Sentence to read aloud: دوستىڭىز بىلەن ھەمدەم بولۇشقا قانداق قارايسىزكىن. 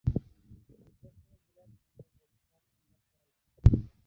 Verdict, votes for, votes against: rejected, 0, 3